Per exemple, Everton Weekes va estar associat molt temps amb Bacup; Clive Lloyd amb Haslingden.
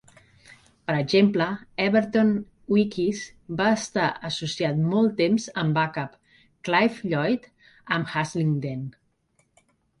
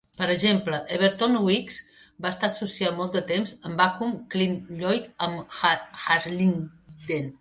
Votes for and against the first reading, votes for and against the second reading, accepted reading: 3, 0, 1, 2, first